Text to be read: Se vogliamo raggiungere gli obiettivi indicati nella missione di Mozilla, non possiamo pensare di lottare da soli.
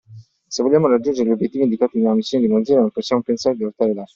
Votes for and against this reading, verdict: 0, 2, rejected